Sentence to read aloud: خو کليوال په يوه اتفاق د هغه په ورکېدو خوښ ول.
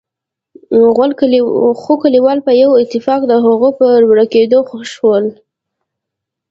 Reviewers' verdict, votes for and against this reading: rejected, 0, 2